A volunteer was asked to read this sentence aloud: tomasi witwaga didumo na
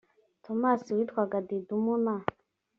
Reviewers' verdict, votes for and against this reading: accepted, 2, 1